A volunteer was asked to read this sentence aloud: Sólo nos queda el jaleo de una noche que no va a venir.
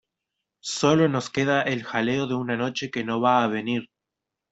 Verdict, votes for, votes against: accepted, 2, 1